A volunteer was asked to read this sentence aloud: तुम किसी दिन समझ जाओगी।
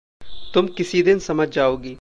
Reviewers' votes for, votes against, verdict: 2, 0, accepted